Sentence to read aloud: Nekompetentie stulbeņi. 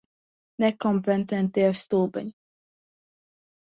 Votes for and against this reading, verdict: 1, 2, rejected